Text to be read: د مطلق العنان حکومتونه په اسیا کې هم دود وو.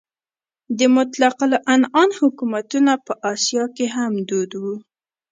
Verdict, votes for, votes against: accepted, 2, 0